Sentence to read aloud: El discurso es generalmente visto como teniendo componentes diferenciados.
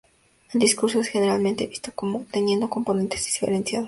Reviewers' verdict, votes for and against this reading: rejected, 0, 4